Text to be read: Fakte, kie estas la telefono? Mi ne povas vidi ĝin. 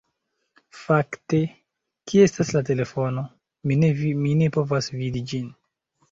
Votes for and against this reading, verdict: 0, 2, rejected